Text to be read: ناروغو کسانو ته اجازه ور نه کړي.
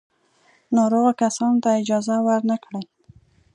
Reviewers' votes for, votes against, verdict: 2, 1, accepted